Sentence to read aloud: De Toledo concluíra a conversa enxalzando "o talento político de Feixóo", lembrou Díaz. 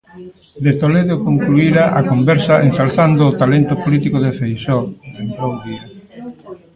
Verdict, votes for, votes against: rejected, 1, 2